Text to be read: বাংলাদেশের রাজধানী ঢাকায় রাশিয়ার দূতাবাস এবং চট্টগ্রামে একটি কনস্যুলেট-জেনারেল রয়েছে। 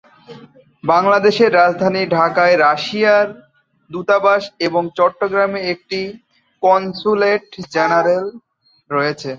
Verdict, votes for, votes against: rejected, 1, 2